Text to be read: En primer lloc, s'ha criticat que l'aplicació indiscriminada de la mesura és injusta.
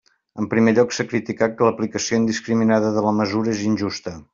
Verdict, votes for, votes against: accepted, 3, 0